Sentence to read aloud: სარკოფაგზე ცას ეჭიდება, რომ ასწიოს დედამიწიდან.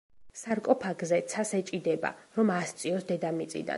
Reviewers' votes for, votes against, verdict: 2, 1, accepted